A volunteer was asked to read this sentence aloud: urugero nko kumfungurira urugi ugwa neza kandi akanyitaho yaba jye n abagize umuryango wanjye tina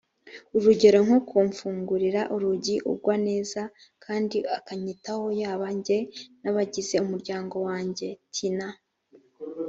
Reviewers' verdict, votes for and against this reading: accepted, 2, 0